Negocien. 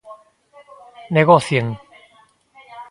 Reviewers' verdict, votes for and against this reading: accepted, 2, 0